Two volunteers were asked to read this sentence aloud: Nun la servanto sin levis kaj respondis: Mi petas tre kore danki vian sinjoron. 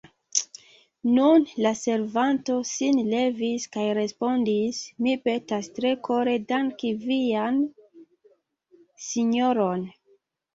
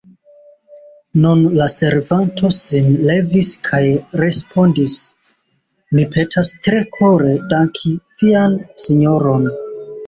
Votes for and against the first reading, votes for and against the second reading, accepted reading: 2, 1, 1, 2, first